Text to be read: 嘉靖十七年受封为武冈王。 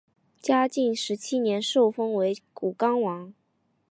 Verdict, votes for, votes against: accepted, 5, 1